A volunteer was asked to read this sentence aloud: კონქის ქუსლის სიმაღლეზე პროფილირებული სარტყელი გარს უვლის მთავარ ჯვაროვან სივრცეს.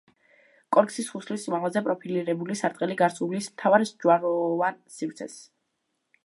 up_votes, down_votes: 1, 2